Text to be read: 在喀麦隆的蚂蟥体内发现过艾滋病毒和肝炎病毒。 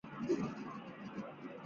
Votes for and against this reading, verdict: 0, 2, rejected